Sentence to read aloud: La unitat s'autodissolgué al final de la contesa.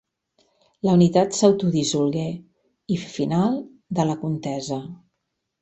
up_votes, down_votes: 1, 2